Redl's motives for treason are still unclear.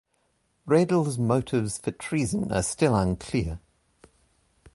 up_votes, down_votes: 2, 0